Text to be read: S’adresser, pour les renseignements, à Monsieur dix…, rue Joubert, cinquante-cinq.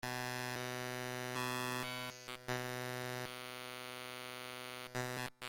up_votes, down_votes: 0, 2